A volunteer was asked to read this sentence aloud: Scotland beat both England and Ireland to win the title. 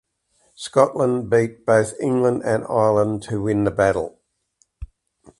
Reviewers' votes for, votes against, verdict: 0, 2, rejected